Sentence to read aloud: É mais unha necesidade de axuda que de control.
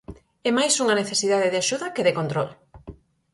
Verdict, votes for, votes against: accepted, 4, 0